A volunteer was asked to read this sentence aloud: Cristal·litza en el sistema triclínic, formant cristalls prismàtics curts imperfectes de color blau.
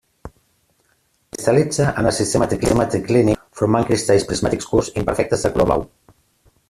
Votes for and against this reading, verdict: 0, 2, rejected